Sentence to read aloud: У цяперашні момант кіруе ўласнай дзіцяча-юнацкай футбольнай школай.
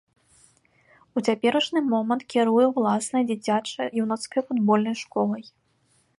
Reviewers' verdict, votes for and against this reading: rejected, 0, 2